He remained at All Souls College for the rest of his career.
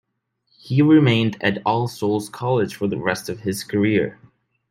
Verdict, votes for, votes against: accepted, 2, 0